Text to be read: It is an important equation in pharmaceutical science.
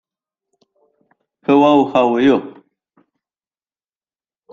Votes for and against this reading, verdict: 0, 2, rejected